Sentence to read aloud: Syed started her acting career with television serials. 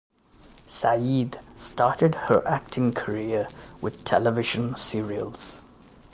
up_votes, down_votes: 2, 0